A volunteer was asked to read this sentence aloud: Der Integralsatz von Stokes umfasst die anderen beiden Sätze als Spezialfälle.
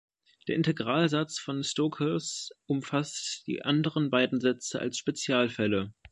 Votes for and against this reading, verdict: 2, 0, accepted